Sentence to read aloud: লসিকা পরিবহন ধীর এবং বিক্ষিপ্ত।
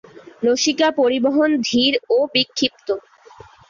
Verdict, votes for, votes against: rejected, 4, 4